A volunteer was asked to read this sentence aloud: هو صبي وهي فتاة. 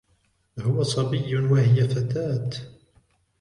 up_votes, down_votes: 1, 2